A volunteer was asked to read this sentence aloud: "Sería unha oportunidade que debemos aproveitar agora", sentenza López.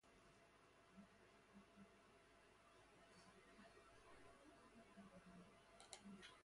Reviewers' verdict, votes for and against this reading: rejected, 0, 2